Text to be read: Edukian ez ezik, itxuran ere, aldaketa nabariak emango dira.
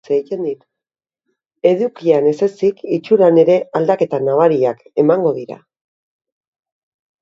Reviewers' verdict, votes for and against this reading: rejected, 0, 2